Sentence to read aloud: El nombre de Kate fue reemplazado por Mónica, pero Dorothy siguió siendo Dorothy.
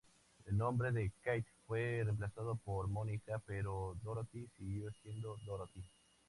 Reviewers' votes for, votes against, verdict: 4, 0, accepted